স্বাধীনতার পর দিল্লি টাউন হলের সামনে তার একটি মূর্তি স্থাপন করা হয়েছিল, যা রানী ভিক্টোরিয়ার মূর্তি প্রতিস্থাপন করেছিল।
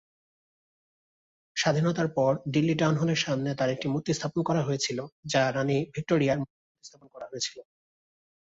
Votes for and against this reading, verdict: 0, 3, rejected